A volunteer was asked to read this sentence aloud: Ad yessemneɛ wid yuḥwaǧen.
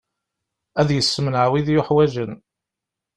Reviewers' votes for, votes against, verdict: 2, 0, accepted